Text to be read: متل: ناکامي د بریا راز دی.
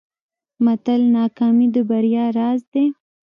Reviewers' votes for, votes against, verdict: 1, 2, rejected